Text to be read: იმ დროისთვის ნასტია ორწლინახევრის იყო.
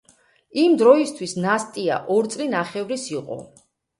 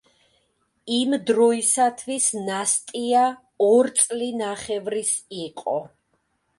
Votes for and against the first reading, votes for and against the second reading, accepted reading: 2, 0, 0, 2, first